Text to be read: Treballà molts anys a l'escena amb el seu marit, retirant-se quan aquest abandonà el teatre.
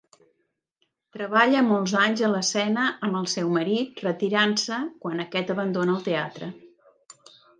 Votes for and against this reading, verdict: 0, 2, rejected